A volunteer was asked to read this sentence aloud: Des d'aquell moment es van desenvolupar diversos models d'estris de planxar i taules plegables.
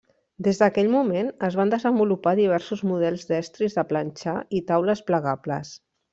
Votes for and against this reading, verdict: 3, 0, accepted